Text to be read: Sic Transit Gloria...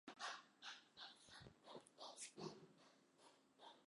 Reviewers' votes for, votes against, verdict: 0, 2, rejected